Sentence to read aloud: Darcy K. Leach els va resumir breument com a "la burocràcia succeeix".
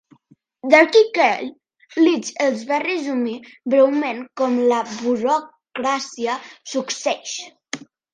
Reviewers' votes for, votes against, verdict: 1, 2, rejected